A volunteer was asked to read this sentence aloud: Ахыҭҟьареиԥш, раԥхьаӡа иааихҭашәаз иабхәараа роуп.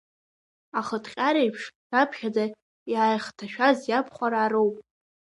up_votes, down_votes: 0, 2